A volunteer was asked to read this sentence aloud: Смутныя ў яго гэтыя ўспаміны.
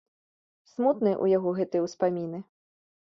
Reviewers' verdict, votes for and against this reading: accepted, 3, 0